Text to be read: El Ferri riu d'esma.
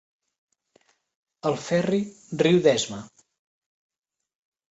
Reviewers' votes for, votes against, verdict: 3, 0, accepted